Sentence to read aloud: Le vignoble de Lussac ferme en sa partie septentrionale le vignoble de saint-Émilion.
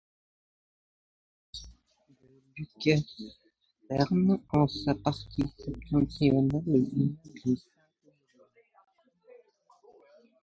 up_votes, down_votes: 0, 2